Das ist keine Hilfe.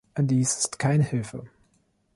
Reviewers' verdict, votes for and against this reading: rejected, 0, 2